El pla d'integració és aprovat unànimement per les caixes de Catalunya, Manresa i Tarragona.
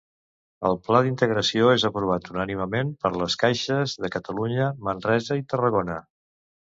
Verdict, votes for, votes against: accepted, 2, 0